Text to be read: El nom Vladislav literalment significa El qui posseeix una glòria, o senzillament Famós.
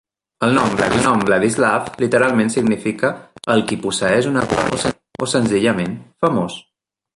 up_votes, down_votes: 0, 2